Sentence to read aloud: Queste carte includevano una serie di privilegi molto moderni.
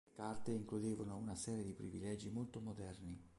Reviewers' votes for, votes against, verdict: 0, 2, rejected